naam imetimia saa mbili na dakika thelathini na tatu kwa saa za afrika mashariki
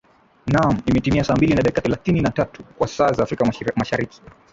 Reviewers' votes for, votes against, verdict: 12, 1, accepted